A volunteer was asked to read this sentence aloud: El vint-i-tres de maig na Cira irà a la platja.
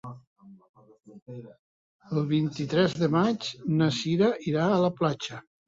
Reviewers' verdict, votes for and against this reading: accepted, 3, 0